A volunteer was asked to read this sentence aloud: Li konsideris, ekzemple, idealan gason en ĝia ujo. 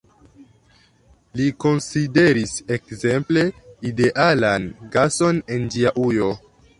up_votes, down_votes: 0, 2